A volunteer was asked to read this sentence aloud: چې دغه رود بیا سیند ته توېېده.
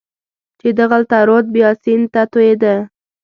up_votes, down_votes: 1, 2